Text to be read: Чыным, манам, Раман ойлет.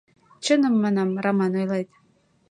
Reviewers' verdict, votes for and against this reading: accepted, 2, 0